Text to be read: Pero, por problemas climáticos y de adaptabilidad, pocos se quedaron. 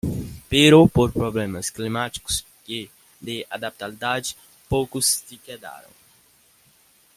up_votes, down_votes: 1, 2